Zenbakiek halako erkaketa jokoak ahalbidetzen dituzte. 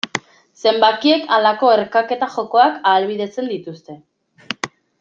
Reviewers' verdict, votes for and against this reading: accepted, 2, 0